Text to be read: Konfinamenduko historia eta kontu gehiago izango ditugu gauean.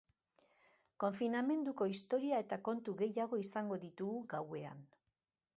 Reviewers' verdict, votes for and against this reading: accepted, 2, 0